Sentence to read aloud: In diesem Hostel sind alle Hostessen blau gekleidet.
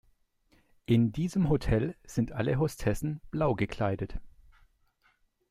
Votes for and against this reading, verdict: 0, 2, rejected